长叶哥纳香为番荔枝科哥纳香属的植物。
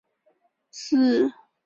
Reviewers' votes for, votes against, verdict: 3, 4, rejected